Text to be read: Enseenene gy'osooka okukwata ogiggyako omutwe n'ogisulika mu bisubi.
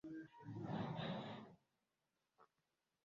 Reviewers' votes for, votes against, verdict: 0, 2, rejected